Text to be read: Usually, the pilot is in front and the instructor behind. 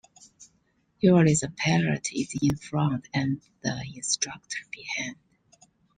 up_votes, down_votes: 0, 2